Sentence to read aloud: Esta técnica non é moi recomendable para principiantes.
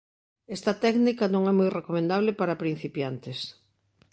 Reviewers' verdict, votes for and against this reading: accepted, 3, 0